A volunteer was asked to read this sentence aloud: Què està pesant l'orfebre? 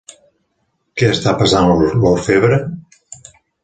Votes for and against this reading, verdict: 1, 2, rejected